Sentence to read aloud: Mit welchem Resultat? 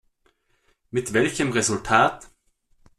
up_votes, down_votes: 2, 0